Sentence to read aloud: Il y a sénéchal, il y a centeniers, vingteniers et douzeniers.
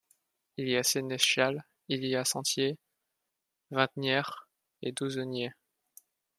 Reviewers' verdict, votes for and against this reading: rejected, 0, 2